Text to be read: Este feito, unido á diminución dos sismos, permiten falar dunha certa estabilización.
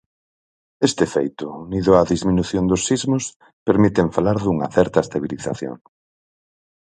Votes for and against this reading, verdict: 0, 4, rejected